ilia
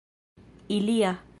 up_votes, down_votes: 2, 0